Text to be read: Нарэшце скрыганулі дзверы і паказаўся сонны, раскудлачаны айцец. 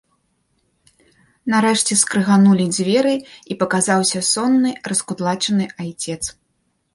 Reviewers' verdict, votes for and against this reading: accepted, 3, 0